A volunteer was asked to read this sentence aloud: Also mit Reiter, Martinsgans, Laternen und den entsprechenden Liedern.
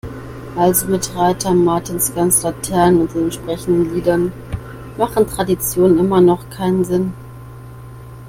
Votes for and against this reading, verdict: 0, 2, rejected